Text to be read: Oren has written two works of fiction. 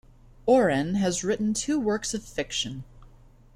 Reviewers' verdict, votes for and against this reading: accepted, 2, 0